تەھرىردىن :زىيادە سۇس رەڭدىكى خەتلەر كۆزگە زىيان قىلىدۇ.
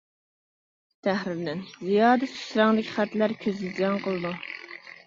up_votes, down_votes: 1, 2